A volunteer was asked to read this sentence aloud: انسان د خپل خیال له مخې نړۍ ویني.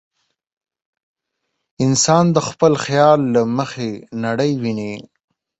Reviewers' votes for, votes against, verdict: 14, 0, accepted